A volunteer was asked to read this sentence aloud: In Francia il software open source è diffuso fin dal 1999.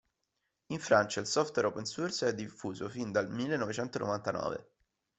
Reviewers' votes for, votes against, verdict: 0, 2, rejected